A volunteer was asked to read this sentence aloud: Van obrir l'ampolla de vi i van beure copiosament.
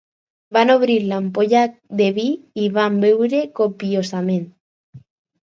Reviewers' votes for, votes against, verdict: 4, 0, accepted